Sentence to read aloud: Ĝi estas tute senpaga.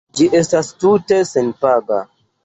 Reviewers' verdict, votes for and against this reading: accepted, 2, 0